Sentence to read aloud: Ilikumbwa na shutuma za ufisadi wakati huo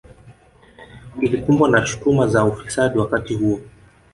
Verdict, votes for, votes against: rejected, 2, 3